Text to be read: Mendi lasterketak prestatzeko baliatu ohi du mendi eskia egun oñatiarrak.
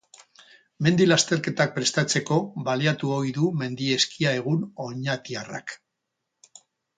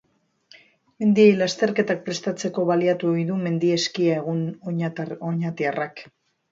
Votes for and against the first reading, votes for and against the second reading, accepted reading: 4, 0, 0, 2, first